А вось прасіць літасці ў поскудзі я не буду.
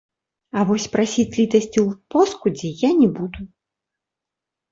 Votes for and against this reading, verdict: 1, 3, rejected